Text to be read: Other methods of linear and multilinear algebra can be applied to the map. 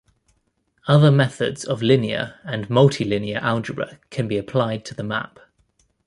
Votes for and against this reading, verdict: 2, 1, accepted